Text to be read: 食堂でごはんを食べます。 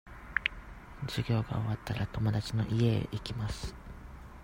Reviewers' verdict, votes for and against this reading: rejected, 0, 2